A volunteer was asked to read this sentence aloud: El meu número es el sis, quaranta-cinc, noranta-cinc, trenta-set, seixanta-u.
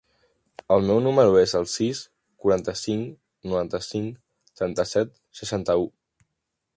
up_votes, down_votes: 2, 0